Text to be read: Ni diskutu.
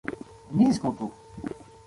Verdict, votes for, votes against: rejected, 0, 2